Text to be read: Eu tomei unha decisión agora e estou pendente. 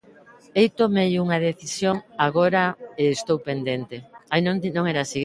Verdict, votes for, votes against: rejected, 1, 2